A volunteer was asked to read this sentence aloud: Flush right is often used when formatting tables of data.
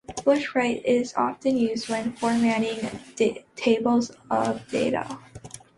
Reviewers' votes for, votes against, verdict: 0, 2, rejected